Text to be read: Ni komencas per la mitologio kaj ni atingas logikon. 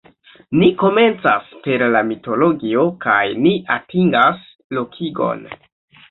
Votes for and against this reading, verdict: 1, 2, rejected